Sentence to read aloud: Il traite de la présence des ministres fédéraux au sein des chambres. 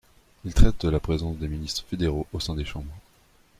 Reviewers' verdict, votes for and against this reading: rejected, 1, 2